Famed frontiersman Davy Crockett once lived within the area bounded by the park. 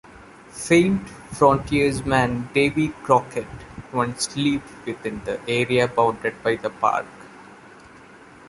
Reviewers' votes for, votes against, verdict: 0, 2, rejected